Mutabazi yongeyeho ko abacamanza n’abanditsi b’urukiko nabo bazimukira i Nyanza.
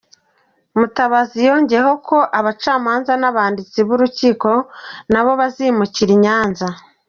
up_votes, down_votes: 2, 0